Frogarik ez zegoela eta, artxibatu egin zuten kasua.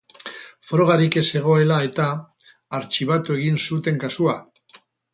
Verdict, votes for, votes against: accepted, 4, 0